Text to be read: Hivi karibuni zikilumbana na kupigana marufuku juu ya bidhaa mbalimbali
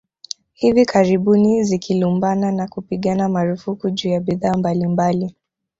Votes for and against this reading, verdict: 1, 2, rejected